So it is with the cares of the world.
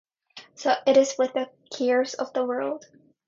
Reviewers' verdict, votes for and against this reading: accepted, 2, 0